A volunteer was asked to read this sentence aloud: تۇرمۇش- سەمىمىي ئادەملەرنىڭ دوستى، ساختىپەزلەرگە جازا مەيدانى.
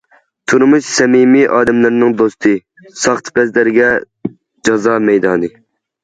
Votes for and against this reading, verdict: 2, 0, accepted